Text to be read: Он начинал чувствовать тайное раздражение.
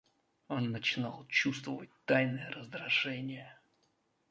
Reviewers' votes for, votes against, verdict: 1, 2, rejected